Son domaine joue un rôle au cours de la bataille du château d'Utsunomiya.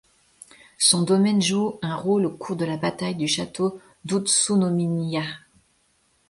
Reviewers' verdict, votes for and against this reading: rejected, 1, 2